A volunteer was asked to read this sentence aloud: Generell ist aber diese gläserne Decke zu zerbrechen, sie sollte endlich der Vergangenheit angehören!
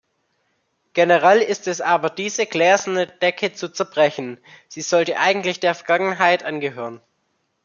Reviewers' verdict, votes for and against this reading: rejected, 0, 2